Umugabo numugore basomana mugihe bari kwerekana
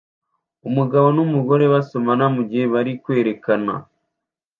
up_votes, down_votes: 2, 0